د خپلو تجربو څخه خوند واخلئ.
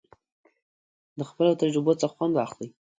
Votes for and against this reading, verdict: 2, 0, accepted